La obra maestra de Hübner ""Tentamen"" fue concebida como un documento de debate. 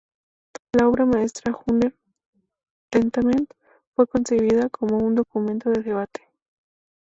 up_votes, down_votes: 2, 2